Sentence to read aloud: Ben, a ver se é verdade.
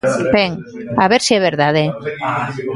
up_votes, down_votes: 2, 0